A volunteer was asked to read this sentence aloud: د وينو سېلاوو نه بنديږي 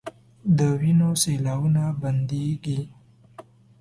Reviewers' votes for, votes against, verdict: 1, 2, rejected